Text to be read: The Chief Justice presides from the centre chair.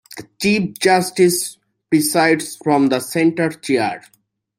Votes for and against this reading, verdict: 2, 0, accepted